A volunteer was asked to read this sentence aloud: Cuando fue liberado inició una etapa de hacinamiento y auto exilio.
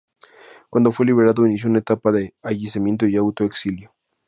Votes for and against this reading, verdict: 0, 2, rejected